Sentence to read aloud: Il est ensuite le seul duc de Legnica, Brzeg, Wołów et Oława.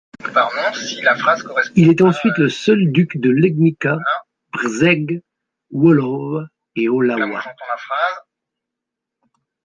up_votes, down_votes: 1, 2